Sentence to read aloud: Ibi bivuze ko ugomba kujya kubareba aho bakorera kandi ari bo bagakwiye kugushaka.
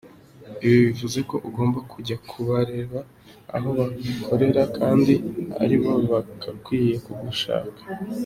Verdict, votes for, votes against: accepted, 2, 1